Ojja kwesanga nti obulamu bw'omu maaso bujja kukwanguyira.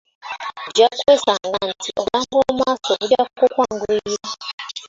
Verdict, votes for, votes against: rejected, 0, 2